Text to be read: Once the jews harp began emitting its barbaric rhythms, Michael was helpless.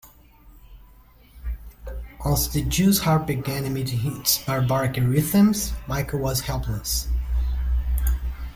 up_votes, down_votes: 2, 1